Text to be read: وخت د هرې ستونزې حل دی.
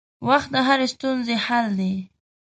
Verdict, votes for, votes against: accepted, 2, 0